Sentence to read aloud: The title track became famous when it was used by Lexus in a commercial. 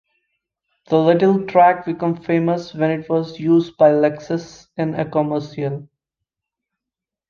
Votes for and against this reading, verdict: 1, 2, rejected